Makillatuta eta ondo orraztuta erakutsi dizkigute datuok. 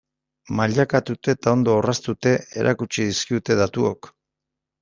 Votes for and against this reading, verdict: 0, 2, rejected